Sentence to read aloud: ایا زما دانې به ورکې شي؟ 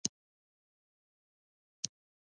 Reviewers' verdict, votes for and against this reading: rejected, 0, 2